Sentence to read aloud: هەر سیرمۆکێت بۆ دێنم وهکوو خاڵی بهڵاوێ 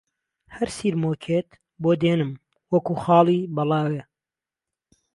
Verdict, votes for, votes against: rejected, 1, 2